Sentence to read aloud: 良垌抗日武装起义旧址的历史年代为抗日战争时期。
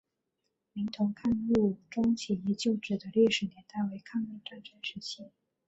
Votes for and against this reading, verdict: 2, 3, rejected